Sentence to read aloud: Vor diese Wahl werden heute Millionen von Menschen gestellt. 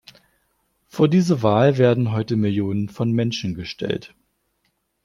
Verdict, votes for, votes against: accepted, 2, 0